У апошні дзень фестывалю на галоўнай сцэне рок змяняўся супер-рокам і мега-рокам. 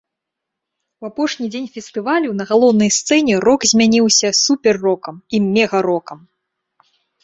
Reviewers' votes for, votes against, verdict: 2, 0, accepted